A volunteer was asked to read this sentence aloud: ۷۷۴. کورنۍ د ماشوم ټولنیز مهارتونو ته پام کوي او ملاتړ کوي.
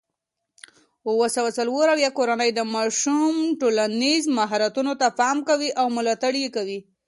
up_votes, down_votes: 0, 2